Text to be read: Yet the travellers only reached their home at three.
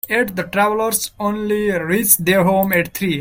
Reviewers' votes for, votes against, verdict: 1, 2, rejected